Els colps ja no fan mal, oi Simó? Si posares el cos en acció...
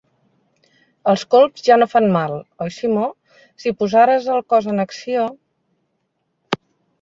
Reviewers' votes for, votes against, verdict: 3, 0, accepted